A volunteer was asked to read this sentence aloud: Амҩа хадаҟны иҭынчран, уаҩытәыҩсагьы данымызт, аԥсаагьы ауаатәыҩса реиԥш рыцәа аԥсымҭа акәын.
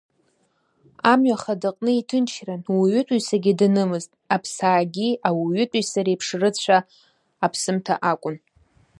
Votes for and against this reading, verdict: 1, 2, rejected